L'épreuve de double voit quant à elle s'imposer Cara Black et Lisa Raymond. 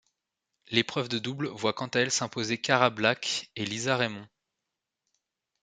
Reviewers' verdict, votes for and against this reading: accepted, 2, 0